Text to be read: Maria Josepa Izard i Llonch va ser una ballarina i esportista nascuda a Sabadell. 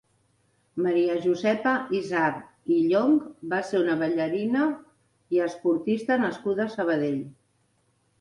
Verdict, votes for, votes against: accepted, 2, 0